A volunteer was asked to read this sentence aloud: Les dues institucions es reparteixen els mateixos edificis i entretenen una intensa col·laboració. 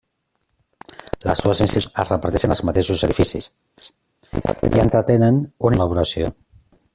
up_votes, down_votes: 0, 2